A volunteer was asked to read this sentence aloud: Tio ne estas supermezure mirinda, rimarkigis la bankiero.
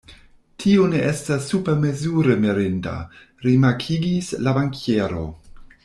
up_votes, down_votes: 2, 0